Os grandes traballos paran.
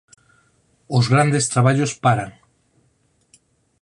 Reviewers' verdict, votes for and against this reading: accepted, 4, 0